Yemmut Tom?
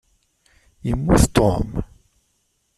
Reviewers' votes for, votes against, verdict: 1, 2, rejected